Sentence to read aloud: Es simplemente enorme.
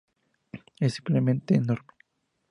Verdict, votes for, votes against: accepted, 2, 0